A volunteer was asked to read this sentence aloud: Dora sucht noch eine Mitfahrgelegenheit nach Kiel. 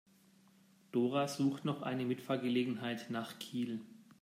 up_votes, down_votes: 2, 0